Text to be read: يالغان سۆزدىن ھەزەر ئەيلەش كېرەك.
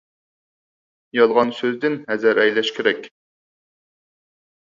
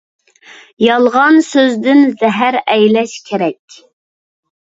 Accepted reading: first